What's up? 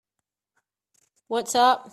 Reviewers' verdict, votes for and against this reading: accepted, 2, 0